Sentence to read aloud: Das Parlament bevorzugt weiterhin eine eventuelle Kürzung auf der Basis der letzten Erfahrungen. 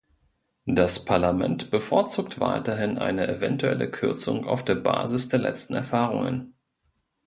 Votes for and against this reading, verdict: 2, 0, accepted